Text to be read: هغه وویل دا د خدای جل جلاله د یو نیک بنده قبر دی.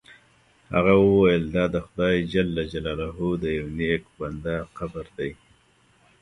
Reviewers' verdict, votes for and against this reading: accepted, 2, 1